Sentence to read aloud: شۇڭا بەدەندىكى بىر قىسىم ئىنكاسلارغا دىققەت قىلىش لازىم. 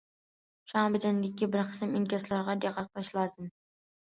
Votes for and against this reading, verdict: 2, 0, accepted